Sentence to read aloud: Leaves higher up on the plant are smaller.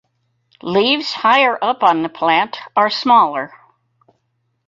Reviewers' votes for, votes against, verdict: 4, 0, accepted